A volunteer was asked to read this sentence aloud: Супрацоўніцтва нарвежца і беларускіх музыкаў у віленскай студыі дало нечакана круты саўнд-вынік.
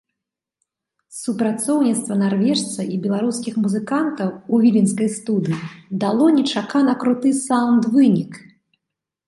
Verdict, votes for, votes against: rejected, 0, 2